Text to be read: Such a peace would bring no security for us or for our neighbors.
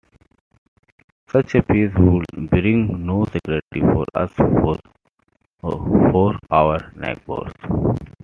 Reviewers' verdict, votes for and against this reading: rejected, 0, 2